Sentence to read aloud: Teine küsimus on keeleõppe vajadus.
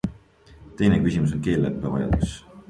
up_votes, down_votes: 3, 0